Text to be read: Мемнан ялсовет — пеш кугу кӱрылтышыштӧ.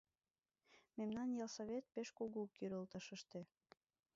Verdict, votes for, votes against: rejected, 1, 2